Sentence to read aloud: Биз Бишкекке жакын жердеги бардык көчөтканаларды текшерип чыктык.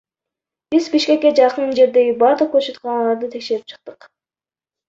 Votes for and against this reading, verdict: 1, 2, rejected